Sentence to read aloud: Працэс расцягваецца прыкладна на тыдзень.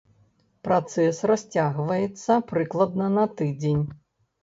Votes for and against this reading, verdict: 2, 0, accepted